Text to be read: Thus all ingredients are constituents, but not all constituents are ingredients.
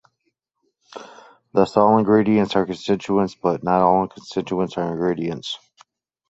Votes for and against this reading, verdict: 2, 0, accepted